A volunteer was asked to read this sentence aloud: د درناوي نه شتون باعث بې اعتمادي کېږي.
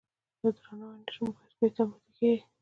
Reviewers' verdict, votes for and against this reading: rejected, 1, 2